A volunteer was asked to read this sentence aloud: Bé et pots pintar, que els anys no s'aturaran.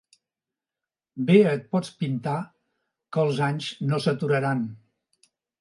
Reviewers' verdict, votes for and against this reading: accepted, 2, 0